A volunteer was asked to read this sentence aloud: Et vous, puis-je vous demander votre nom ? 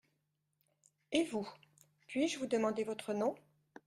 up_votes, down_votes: 2, 0